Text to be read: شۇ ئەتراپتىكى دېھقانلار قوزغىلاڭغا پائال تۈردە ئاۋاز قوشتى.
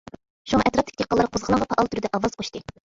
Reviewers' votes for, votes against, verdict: 0, 2, rejected